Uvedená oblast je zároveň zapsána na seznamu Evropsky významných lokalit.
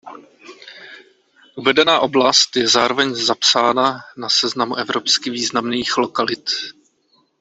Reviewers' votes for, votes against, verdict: 2, 0, accepted